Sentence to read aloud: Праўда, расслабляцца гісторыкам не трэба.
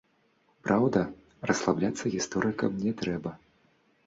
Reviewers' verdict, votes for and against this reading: rejected, 1, 2